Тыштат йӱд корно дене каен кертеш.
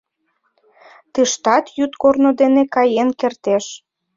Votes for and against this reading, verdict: 2, 0, accepted